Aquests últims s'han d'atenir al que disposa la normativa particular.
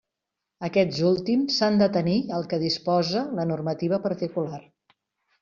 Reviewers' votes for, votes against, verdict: 2, 0, accepted